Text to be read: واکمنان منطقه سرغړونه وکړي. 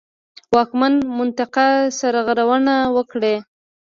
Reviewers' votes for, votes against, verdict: 0, 2, rejected